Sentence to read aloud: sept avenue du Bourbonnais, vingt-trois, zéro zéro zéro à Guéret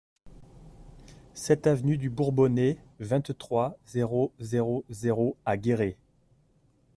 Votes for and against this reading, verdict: 2, 0, accepted